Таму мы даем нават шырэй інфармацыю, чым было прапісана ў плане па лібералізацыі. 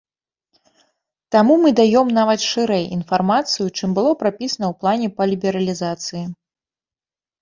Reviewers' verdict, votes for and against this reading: rejected, 1, 2